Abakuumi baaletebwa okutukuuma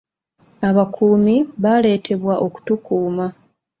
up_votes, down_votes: 2, 0